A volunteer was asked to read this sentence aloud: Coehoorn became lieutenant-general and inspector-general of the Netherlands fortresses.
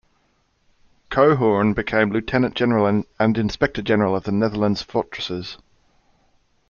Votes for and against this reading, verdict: 1, 2, rejected